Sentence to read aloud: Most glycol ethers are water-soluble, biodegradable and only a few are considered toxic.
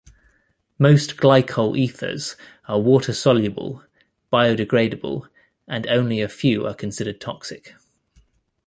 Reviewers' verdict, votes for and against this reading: accepted, 2, 0